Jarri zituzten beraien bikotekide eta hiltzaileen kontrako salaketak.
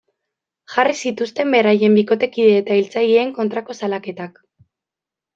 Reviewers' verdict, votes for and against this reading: accepted, 2, 0